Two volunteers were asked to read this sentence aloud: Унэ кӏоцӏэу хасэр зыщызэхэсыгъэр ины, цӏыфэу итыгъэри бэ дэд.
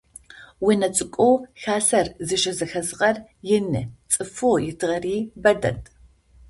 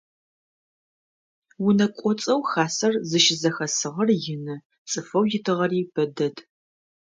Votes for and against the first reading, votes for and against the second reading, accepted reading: 0, 2, 2, 0, second